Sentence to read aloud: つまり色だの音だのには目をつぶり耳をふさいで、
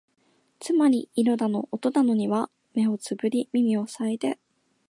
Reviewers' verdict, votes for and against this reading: accepted, 2, 0